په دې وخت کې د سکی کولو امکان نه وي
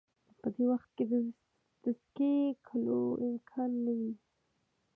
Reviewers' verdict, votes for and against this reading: rejected, 1, 2